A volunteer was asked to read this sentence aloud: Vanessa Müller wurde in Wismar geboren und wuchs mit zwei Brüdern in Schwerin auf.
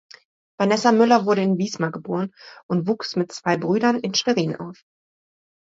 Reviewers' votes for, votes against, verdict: 2, 0, accepted